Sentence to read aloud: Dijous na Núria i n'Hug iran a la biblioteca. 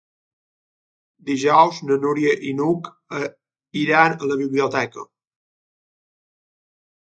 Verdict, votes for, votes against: rejected, 3, 4